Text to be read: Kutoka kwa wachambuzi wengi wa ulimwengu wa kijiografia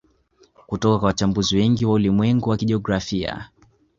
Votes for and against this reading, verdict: 2, 0, accepted